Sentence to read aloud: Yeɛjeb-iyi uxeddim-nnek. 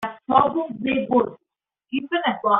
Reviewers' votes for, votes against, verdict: 0, 2, rejected